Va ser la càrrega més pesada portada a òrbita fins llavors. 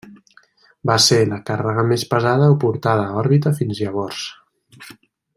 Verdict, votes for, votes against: accepted, 2, 1